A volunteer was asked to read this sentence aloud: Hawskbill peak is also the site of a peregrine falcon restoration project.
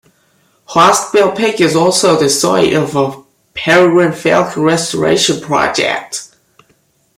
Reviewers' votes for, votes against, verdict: 0, 2, rejected